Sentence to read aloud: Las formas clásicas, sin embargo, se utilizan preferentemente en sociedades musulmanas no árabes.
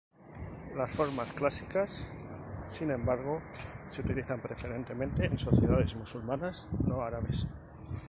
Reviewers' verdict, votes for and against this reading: accepted, 2, 0